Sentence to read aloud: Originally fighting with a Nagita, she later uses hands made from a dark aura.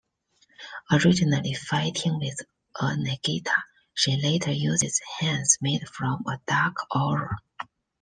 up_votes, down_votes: 2, 1